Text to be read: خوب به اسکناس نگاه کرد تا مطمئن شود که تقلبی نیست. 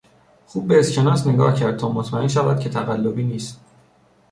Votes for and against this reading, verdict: 2, 0, accepted